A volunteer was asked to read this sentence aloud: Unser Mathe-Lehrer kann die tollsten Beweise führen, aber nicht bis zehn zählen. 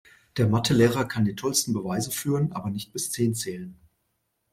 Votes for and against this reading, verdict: 0, 2, rejected